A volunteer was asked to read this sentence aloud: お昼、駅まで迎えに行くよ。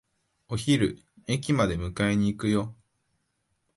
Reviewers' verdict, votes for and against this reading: accepted, 2, 0